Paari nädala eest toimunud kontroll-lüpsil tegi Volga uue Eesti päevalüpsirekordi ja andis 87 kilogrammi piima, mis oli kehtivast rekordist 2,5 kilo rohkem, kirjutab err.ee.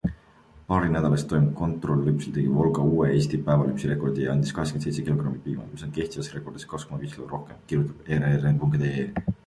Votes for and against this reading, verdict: 0, 2, rejected